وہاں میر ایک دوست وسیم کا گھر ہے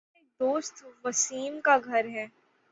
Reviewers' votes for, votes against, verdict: 0, 6, rejected